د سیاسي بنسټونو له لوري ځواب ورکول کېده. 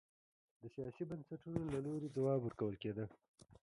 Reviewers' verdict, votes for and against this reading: rejected, 0, 2